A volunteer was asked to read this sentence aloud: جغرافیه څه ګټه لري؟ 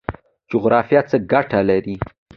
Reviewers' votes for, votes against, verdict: 2, 0, accepted